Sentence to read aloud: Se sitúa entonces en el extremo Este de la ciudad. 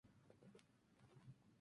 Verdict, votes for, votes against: rejected, 0, 2